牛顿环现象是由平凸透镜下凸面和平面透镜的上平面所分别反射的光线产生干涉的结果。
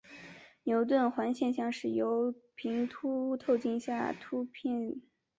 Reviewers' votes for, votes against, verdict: 0, 2, rejected